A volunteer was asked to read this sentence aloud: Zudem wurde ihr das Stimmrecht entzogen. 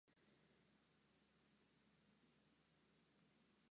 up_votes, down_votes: 0, 4